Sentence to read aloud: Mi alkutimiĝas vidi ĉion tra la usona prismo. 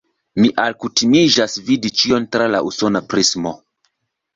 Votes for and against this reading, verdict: 2, 0, accepted